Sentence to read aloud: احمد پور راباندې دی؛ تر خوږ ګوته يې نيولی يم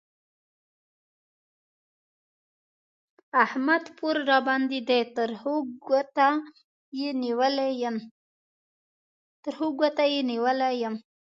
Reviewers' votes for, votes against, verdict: 0, 2, rejected